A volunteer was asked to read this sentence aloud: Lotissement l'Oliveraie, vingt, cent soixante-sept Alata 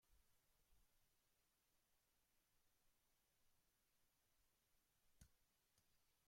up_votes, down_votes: 0, 2